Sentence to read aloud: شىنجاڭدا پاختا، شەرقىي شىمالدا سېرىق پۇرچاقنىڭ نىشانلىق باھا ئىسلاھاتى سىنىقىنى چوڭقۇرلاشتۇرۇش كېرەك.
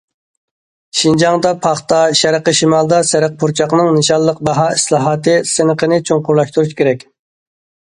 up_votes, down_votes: 2, 0